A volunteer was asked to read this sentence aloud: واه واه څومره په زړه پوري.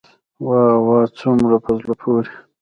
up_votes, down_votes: 2, 1